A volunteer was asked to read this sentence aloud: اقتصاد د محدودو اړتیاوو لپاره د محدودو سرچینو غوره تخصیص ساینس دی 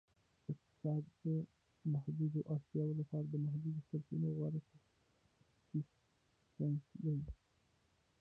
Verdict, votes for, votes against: rejected, 0, 2